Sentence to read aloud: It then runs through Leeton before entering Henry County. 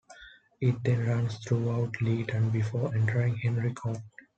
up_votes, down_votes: 0, 2